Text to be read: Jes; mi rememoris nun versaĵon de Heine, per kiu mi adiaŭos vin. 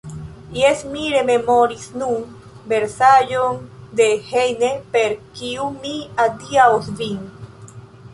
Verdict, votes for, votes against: rejected, 0, 3